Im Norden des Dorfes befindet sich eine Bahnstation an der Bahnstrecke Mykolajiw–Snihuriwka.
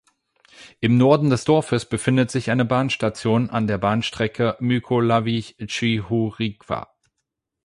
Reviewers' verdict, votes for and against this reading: rejected, 4, 8